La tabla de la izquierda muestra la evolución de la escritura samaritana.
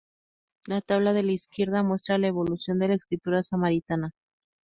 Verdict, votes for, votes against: rejected, 0, 2